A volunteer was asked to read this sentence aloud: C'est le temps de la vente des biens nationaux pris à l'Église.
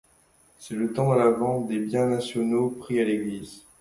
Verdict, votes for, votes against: rejected, 0, 2